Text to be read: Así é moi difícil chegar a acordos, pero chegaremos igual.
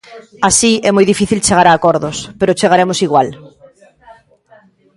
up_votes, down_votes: 2, 1